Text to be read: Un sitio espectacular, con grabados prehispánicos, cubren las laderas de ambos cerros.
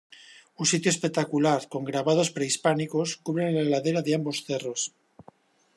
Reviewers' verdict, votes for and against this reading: rejected, 1, 2